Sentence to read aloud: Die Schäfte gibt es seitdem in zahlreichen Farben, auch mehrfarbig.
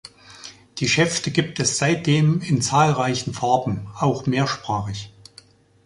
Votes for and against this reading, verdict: 0, 2, rejected